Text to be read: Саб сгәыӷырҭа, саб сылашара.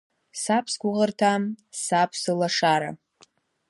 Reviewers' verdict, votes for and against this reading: accepted, 2, 0